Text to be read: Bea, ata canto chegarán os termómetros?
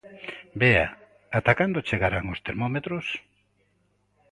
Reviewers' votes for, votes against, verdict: 2, 0, accepted